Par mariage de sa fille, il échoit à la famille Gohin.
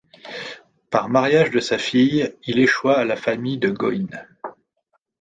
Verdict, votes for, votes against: rejected, 0, 2